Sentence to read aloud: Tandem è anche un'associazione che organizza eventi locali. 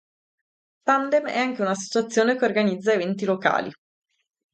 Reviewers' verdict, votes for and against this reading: rejected, 2, 2